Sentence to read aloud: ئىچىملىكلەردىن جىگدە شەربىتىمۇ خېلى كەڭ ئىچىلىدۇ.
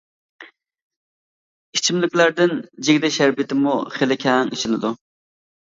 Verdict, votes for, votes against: accepted, 2, 0